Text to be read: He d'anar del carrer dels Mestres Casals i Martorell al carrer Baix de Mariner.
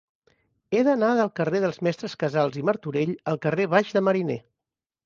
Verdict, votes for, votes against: accepted, 2, 0